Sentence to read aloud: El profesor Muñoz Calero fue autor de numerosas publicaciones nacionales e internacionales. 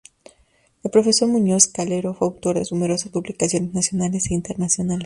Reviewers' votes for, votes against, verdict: 2, 0, accepted